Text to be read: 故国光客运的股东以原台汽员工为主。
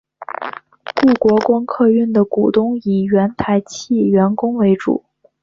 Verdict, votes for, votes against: accepted, 2, 1